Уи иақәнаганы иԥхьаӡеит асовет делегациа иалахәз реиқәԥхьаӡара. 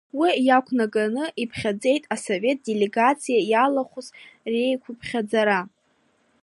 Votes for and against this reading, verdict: 1, 2, rejected